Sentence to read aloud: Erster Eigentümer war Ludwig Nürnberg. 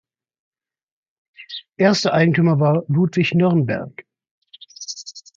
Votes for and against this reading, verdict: 2, 1, accepted